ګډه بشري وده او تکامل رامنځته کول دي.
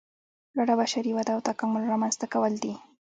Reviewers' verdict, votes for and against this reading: rejected, 1, 2